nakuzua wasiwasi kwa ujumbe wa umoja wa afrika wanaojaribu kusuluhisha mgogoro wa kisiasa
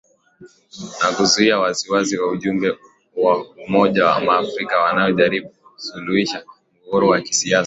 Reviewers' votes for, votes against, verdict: 0, 2, rejected